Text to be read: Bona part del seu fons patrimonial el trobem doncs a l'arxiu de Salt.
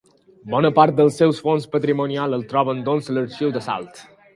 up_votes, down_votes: 1, 2